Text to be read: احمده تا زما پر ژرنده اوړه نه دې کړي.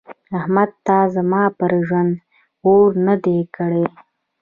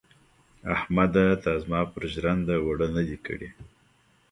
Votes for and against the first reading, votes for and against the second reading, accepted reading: 2, 0, 1, 2, first